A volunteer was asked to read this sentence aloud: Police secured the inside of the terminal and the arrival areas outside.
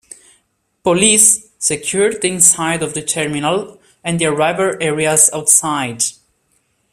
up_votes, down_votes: 2, 0